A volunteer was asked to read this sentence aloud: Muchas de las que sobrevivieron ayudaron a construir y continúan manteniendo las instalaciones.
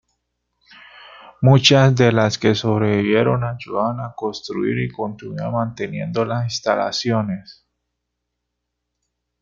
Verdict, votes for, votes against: accepted, 2, 1